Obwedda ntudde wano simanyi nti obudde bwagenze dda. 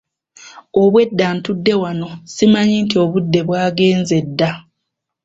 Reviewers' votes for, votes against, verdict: 2, 0, accepted